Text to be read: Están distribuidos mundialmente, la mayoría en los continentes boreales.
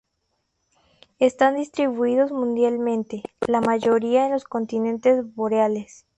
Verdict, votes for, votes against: accepted, 2, 0